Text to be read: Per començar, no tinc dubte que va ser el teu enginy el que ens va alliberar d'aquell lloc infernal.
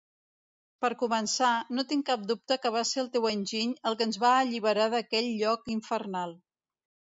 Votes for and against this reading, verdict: 1, 2, rejected